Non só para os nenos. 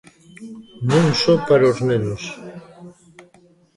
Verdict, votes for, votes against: rejected, 0, 2